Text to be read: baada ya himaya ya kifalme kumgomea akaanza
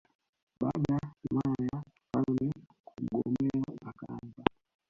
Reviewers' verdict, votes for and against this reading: rejected, 1, 3